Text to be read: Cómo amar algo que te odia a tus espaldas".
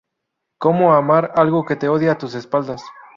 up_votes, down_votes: 2, 0